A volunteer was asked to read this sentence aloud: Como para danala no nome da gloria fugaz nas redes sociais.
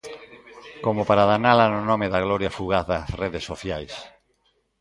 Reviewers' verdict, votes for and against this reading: rejected, 0, 2